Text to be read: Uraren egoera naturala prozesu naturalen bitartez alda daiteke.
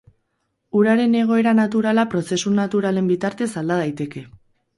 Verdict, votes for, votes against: accepted, 4, 0